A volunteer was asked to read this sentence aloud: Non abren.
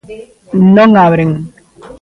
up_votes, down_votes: 2, 0